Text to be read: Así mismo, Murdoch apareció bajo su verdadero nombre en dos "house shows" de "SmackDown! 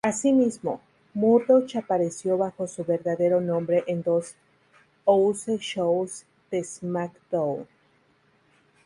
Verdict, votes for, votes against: rejected, 0, 2